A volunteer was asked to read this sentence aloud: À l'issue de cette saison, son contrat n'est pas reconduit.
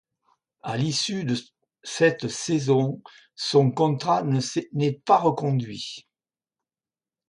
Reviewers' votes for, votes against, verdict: 1, 2, rejected